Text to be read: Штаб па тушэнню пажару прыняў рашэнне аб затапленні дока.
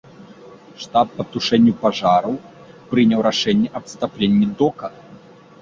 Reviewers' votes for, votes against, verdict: 1, 2, rejected